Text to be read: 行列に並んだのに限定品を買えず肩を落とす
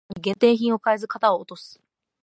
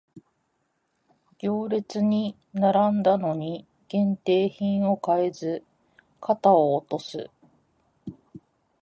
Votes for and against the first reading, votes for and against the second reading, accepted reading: 0, 2, 2, 0, second